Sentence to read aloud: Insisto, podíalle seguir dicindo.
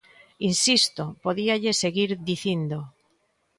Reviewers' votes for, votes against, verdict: 2, 0, accepted